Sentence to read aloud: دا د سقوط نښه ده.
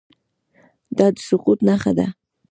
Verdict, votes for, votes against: rejected, 1, 2